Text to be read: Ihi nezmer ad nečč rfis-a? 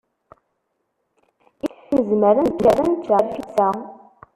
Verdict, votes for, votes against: rejected, 0, 2